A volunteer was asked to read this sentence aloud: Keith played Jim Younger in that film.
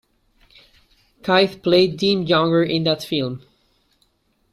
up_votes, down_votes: 0, 2